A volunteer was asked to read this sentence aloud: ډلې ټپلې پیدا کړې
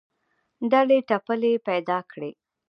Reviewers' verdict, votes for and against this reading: accepted, 2, 0